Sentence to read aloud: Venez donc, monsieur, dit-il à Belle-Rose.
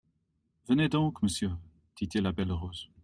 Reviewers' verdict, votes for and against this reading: accepted, 2, 0